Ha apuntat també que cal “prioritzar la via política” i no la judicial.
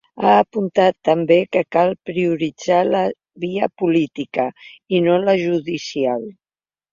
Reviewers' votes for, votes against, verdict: 4, 0, accepted